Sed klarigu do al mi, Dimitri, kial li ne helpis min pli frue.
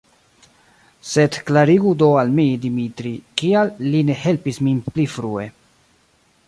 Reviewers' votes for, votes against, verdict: 1, 2, rejected